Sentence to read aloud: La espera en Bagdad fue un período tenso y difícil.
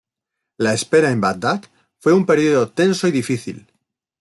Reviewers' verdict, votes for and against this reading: rejected, 0, 2